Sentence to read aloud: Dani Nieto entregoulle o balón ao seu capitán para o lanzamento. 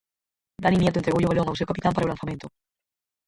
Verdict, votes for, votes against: rejected, 0, 4